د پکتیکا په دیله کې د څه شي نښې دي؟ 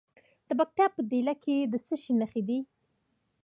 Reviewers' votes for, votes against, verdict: 1, 2, rejected